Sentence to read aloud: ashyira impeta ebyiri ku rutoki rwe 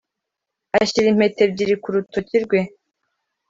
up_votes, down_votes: 2, 0